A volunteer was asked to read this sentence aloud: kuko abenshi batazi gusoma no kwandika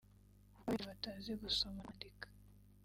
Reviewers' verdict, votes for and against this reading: rejected, 0, 3